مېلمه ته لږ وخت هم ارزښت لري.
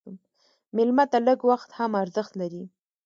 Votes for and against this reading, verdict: 2, 0, accepted